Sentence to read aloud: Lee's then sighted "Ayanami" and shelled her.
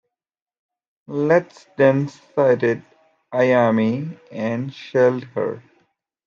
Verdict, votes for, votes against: rejected, 1, 2